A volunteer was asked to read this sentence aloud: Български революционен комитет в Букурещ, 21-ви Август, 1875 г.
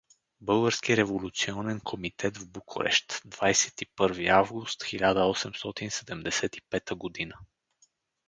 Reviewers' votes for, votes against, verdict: 0, 2, rejected